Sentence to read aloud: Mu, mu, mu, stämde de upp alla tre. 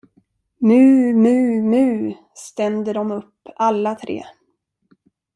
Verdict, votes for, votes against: rejected, 0, 2